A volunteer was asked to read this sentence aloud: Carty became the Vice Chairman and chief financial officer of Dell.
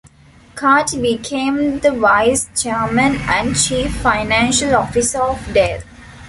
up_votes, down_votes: 2, 0